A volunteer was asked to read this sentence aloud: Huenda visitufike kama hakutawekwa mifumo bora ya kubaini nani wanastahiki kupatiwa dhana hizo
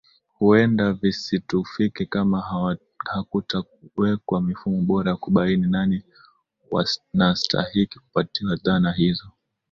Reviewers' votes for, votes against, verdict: 2, 3, rejected